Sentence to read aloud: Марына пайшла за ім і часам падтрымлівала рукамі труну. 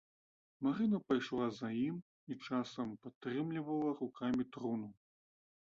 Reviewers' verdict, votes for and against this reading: accepted, 2, 0